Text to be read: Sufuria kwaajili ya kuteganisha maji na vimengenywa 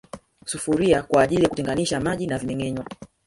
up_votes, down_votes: 1, 2